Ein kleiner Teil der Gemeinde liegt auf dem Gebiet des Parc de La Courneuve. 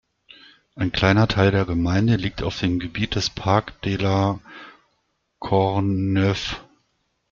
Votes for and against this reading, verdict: 1, 2, rejected